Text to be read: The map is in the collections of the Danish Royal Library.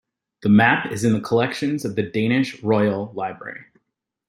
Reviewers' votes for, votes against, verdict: 2, 0, accepted